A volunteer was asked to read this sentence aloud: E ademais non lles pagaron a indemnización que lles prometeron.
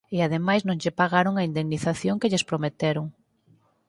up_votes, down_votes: 2, 4